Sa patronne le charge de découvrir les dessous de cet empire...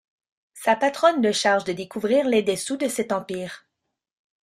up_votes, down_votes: 0, 2